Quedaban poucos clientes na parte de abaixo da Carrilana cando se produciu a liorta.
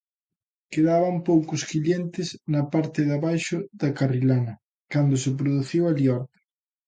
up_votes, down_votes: 2, 1